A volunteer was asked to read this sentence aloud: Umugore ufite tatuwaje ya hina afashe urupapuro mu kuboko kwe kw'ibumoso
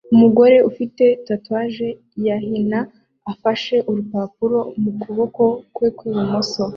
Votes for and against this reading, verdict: 2, 0, accepted